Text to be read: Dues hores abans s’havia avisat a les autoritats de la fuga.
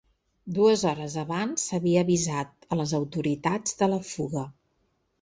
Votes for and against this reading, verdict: 3, 0, accepted